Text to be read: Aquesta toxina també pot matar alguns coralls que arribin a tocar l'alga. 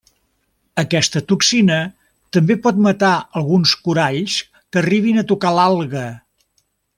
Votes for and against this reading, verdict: 3, 0, accepted